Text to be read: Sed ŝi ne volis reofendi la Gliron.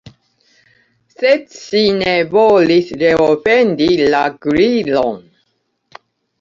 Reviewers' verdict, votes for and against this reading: accepted, 2, 0